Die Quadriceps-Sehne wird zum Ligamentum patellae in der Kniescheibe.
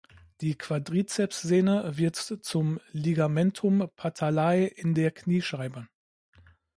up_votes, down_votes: 1, 2